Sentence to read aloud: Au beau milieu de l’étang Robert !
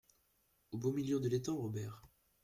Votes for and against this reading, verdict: 2, 0, accepted